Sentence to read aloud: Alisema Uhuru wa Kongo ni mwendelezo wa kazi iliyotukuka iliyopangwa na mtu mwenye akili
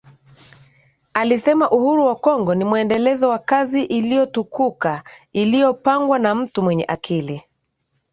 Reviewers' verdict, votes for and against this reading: accepted, 2, 0